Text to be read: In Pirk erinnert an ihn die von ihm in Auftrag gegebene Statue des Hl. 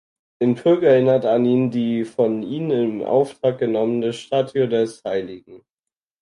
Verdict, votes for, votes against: rejected, 0, 4